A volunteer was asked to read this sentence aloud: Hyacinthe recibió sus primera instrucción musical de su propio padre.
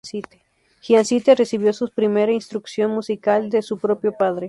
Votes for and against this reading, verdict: 0, 2, rejected